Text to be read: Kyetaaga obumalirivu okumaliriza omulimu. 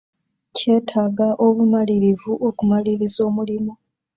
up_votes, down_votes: 2, 0